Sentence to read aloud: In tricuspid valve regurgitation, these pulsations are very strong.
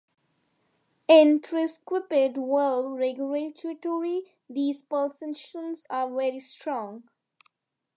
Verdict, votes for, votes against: rejected, 0, 2